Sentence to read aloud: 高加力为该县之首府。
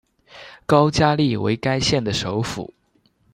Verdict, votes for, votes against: rejected, 1, 2